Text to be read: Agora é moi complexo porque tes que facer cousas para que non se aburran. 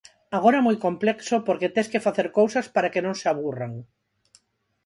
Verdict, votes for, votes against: rejected, 2, 2